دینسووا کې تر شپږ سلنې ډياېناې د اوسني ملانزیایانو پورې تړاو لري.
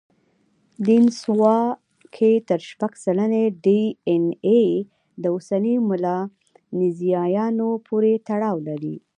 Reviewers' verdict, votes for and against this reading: rejected, 0, 2